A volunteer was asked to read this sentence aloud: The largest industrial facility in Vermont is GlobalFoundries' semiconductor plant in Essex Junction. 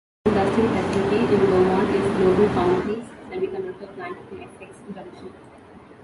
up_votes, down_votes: 0, 3